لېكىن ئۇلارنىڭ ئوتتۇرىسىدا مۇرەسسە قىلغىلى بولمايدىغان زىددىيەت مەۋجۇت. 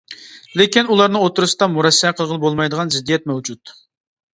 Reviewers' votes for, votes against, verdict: 2, 0, accepted